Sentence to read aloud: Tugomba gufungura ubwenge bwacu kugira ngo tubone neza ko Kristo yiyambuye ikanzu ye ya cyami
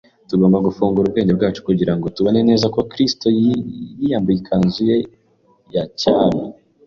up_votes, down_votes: 1, 2